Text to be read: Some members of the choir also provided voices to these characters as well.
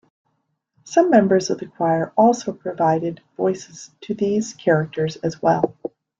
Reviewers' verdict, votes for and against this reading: accepted, 2, 0